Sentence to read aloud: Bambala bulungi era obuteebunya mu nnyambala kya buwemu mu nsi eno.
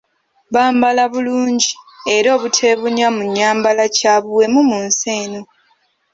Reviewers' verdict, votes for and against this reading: accepted, 2, 0